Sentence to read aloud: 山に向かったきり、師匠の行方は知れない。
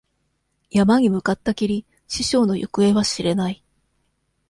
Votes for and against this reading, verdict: 2, 0, accepted